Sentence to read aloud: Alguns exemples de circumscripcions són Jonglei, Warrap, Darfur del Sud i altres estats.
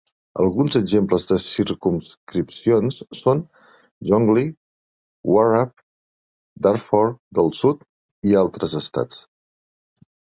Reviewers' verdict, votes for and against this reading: rejected, 0, 2